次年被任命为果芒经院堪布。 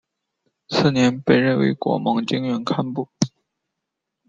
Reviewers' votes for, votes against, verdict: 1, 2, rejected